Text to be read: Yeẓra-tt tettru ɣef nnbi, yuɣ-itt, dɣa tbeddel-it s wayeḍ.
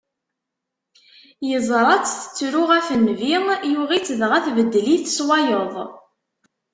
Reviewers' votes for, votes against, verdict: 2, 0, accepted